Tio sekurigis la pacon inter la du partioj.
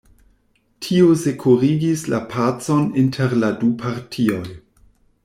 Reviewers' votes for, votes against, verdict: 2, 0, accepted